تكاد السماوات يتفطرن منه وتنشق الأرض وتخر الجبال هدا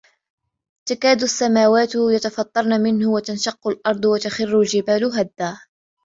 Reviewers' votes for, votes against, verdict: 3, 1, accepted